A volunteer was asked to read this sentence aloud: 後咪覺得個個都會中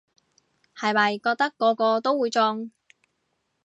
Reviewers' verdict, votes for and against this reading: accepted, 2, 0